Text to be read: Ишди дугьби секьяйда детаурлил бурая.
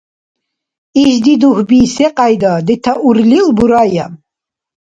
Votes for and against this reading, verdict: 2, 0, accepted